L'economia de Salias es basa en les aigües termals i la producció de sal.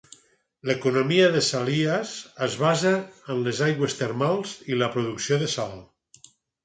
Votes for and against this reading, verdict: 4, 0, accepted